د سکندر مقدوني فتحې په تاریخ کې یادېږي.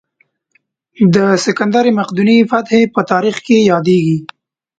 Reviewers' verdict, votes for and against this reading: accepted, 2, 0